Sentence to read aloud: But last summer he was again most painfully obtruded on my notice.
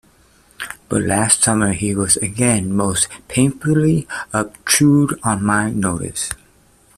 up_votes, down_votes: 1, 2